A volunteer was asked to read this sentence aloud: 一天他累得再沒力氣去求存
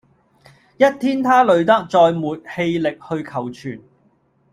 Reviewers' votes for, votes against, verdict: 0, 2, rejected